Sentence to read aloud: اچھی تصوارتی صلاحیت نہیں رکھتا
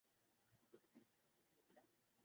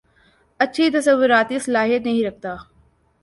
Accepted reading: second